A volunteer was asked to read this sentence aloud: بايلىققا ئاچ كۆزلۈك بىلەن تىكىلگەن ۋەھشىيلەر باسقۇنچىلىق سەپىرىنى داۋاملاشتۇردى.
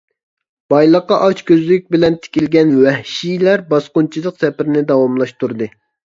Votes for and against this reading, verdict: 2, 0, accepted